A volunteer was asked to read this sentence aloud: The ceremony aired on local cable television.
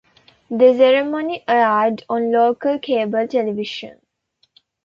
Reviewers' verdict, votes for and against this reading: accepted, 2, 1